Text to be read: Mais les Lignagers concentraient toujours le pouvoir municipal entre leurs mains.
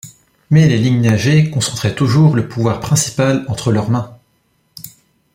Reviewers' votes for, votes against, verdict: 0, 2, rejected